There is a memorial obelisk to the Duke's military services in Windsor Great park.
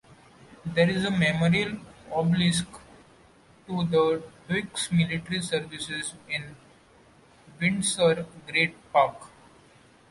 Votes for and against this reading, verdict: 2, 1, accepted